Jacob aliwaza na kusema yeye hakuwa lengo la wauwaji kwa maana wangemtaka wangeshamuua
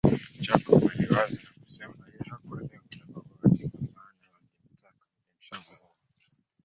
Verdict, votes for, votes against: rejected, 0, 3